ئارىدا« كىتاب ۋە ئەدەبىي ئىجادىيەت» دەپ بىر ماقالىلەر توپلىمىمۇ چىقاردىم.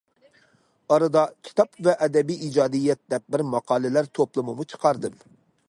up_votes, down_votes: 3, 0